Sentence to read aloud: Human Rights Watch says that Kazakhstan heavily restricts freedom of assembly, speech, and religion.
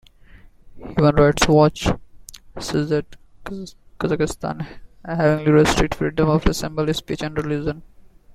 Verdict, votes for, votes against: accepted, 2, 1